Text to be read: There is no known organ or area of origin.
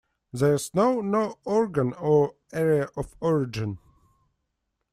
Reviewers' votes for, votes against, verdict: 2, 0, accepted